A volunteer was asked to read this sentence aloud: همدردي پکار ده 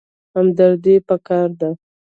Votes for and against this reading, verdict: 2, 0, accepted